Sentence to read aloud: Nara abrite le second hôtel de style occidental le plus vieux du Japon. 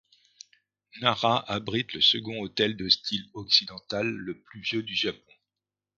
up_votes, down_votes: 2, 0